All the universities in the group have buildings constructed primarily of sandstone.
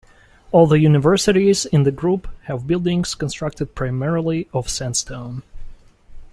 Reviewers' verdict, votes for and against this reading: accepted, 2, 0